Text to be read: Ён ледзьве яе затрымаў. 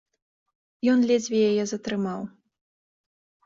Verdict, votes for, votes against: accepted, 3, 0